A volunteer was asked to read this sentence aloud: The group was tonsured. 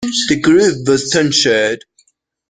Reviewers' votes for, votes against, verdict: 1, 2, rejected